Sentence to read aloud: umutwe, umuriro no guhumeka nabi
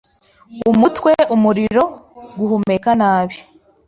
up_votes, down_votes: 1, 2